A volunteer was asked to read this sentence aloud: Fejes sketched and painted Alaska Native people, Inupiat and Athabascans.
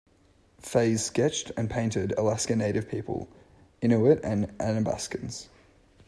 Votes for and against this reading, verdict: 0, 2, rejected